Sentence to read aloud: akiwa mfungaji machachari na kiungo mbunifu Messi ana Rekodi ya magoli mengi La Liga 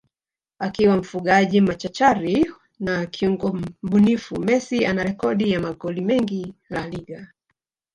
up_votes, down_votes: 2, 3